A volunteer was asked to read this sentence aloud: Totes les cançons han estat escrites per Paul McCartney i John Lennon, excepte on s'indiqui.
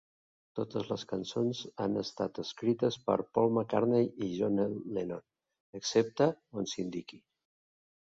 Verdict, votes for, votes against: rejected, 1, 2